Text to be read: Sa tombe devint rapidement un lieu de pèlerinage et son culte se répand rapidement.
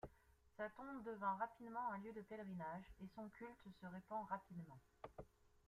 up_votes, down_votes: 2, 0